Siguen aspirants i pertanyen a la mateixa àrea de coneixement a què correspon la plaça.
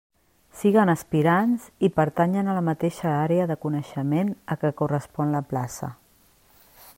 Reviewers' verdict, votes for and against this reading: accepted, 3, 0